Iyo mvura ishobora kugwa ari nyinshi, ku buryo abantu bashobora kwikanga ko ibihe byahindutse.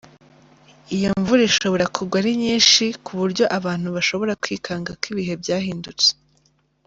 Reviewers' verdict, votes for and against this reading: accepted, 3, 0